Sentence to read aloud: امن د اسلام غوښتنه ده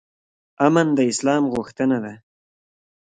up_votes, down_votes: 1, 2